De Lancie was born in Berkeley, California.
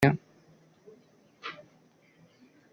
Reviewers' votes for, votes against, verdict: 0, 2, rejected